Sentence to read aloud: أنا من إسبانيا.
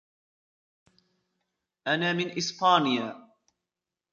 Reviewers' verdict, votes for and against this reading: rejected, 1, 2